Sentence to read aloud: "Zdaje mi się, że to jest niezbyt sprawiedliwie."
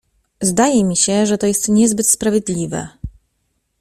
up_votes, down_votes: 0, 2